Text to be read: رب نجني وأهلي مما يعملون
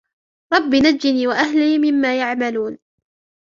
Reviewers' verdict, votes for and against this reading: rejected, 1, 2